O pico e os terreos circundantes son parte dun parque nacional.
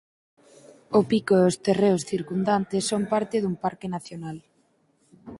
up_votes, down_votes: 4, 0